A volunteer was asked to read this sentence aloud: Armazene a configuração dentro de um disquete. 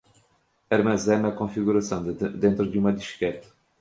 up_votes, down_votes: 1, 2